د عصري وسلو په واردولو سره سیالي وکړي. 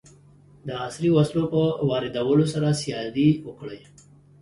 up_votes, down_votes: 2, 0